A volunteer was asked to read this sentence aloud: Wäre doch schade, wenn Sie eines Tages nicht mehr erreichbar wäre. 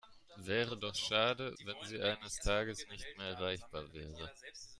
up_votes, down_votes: 0, 2